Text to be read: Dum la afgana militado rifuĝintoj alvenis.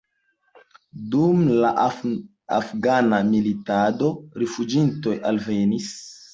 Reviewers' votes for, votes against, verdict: 2, 0, accepted